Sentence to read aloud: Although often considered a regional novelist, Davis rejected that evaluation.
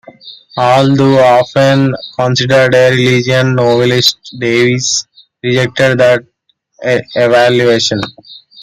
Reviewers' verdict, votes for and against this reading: rejected, 1, 2